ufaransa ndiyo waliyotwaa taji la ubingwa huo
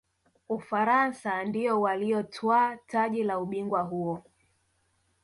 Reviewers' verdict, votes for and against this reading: accepted, 3, 0